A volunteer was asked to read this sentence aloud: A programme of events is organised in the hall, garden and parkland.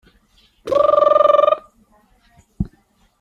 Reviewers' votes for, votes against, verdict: 0, 2, rejected